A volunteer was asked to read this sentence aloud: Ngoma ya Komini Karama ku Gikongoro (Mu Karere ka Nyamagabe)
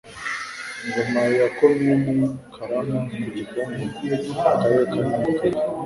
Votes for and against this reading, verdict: 0, 2, rejected